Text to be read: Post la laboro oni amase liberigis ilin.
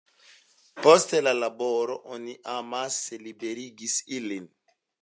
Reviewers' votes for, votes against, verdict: 2, 0, accepted